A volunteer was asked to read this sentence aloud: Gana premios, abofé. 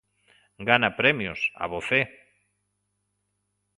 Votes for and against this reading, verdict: 2, 0, accepted